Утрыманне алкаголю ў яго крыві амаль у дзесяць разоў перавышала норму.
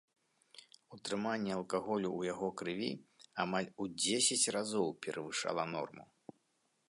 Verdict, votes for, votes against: accepted, 2, 0